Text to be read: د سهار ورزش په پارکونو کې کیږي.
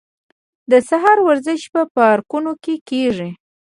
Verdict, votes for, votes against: rejected, 2, 3